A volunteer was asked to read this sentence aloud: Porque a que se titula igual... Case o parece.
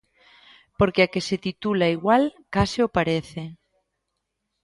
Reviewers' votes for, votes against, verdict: 2, 0, accepted